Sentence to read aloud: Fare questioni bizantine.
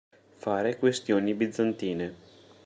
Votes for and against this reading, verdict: 2, 0, accepted